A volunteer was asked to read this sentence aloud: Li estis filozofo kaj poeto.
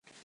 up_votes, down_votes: 0, 3